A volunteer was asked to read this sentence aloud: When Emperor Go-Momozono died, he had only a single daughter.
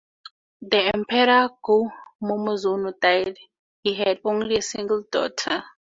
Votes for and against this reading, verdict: 2, 0, accepted